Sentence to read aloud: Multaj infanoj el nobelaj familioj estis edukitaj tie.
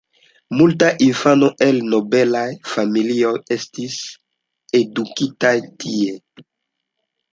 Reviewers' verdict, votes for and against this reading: accepted, 3, 0